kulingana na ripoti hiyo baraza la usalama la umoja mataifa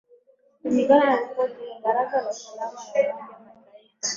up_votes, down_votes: 16, 3